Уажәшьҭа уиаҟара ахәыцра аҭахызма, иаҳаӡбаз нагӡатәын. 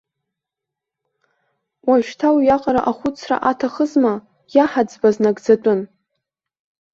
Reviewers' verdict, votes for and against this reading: accepted, 2, 0